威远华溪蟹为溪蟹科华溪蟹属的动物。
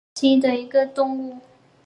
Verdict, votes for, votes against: accepted, 3, 2